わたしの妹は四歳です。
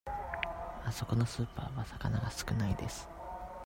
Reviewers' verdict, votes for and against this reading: rejected, 0, 2